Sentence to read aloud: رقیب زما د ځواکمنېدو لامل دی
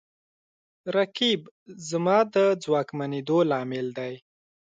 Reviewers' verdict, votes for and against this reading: accepted, 2, 0